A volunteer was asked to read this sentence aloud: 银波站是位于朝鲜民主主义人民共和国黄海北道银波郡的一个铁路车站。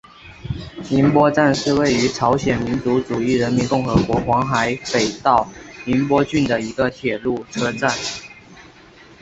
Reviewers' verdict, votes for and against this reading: accepted, 2, 1